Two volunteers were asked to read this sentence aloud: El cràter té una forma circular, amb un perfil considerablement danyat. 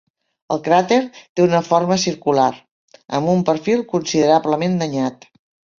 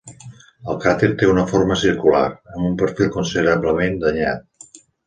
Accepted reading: first